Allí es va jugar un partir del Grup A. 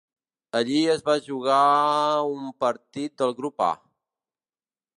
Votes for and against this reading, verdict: 1, 2, rejected